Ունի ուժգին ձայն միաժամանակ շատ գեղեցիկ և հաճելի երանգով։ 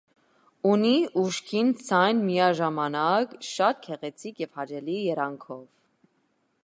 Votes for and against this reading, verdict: 2, 0, accepted